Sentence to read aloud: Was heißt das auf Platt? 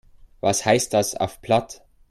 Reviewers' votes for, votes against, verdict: 2, 0, accepted